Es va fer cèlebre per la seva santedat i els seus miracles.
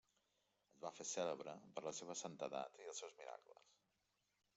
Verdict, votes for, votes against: rejected, 0, 2